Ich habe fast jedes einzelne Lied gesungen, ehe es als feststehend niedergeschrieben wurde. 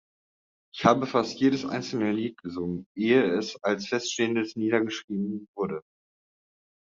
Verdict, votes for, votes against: rejected, 1, 2